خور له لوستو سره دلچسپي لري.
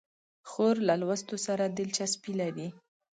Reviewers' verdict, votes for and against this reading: accepted, 2, 1